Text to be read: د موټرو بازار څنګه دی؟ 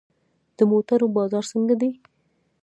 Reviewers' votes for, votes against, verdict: 0, 2, rejected